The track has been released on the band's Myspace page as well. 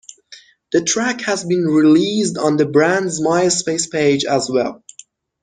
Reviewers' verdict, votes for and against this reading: accepted, 2, 1